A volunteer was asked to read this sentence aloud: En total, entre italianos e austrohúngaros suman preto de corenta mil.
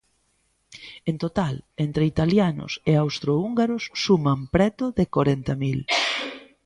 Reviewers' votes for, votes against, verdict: 2, 0, accepted